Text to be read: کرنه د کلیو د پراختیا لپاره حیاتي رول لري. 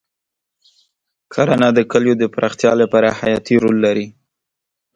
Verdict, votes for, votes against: accepted, 2, 0